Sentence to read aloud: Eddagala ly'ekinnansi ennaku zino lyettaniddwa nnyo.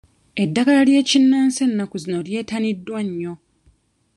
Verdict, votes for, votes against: accepted, 2, 1